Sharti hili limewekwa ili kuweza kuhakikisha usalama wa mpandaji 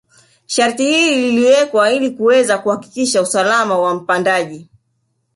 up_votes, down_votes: 1, 2